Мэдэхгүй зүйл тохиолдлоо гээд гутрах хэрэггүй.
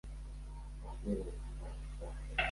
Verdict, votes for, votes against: rejected, 0, 2